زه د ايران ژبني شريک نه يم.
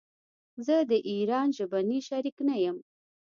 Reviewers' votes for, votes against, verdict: 0, 2, rejected